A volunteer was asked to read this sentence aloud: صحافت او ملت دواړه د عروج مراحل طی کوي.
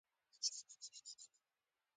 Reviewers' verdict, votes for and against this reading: rejected, 0, 2